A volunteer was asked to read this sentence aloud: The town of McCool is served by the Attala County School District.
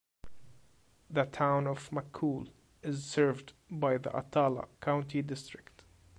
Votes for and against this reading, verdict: 0, 2, rejected